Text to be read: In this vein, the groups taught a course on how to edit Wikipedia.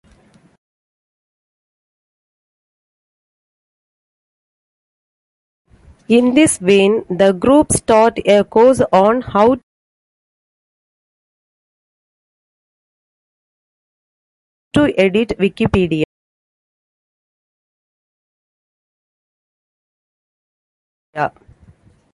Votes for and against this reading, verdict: 0, 2, rejected